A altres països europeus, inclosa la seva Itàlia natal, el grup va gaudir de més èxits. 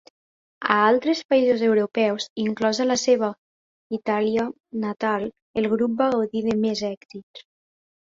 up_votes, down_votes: 2, 0